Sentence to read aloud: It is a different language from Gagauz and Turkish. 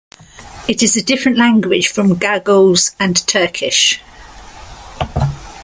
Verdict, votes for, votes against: accepted, 2, 0